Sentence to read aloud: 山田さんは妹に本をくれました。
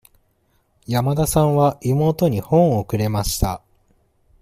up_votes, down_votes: 2, 0